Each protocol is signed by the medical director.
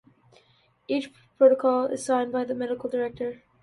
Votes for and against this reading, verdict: 2, 0, accepted